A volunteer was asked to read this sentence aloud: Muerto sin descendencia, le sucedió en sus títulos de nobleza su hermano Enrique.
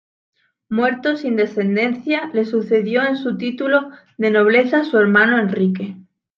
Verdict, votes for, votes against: rejected, 1, 2